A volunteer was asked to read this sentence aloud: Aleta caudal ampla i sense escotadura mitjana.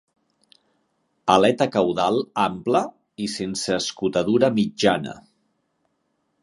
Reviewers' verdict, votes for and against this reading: accepted, 5, 0